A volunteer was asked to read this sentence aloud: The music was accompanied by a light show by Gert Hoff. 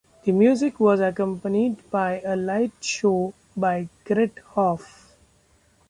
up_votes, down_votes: 0, 2